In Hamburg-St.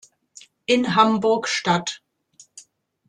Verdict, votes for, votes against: accepted, 2, 1